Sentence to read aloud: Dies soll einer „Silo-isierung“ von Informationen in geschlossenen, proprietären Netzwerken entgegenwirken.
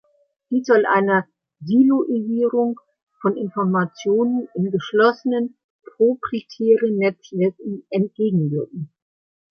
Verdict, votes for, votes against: rejected, 1, 2